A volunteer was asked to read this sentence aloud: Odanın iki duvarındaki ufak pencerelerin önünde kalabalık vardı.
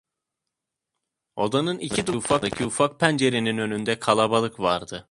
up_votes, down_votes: 1, 2